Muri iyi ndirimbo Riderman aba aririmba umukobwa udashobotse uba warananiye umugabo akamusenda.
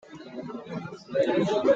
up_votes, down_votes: 0, 2